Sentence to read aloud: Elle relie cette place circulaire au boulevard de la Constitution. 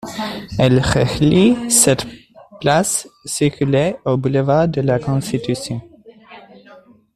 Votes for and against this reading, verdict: 2, 0, accepted